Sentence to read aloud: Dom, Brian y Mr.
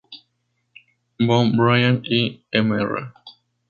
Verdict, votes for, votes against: rejected, 2, 2